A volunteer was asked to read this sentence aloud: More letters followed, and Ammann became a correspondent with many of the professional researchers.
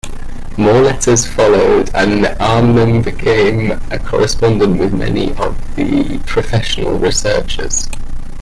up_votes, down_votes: 2, 1